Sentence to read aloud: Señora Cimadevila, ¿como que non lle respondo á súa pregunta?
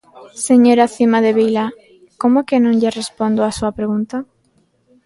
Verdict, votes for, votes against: accepted, 2, 0